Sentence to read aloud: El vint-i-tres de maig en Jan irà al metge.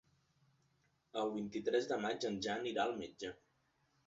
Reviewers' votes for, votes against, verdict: 2, 0, accepted